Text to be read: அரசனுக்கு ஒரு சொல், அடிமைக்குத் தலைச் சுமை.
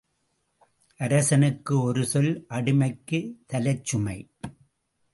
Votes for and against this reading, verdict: 2, 0, accepted